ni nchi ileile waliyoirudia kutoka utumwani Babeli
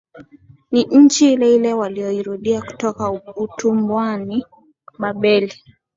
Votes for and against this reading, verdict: 2, 0, accepted